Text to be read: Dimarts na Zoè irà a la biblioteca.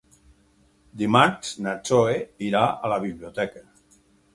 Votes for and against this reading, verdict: 2, 4, rejected